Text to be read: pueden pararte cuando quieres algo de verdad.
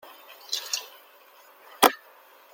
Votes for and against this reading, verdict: 0, 2, rejected